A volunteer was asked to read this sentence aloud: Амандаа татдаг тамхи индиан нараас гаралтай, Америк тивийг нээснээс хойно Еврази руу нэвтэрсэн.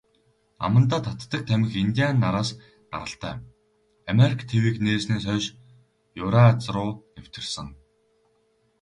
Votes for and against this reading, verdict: 2, 2, rejected